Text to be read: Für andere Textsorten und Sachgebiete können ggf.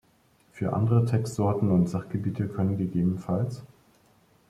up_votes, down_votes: 0, 2